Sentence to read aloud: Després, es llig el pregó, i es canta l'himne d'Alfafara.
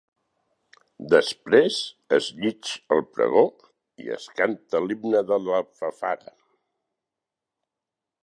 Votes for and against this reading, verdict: 0, 4, rejected